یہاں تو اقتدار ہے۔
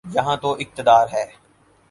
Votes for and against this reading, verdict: 4, 0, accepted